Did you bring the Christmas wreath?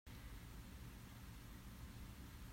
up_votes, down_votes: 1, 2